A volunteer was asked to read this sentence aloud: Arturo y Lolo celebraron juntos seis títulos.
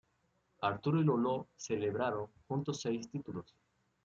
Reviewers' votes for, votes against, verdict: 2, 0, accepted